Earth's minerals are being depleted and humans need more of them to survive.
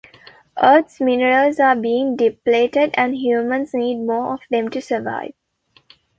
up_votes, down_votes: 2, 0